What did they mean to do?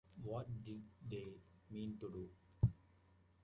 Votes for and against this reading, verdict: 2, 0, accepted